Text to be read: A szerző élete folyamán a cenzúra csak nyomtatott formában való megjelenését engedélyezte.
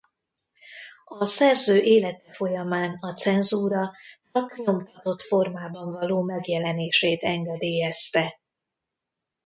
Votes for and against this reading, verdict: 1, 2, rejected